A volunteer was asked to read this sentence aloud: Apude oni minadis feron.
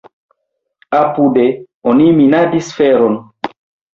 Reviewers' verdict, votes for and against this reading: accepted, 2, 0